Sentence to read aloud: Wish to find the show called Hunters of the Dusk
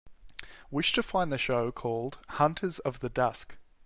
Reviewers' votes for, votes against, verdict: 2, 0, accepted